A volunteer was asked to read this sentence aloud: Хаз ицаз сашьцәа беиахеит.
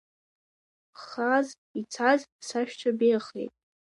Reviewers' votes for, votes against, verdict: 0, 2, rejected